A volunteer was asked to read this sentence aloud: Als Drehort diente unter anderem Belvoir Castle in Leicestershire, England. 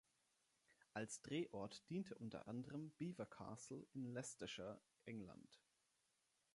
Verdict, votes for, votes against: accepted, 3, 1